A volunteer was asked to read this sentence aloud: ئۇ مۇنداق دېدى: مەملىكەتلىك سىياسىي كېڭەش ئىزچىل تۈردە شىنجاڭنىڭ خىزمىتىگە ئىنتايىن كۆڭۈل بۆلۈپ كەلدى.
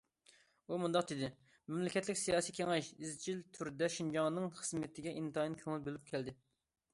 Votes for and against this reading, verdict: 2, 0, accepted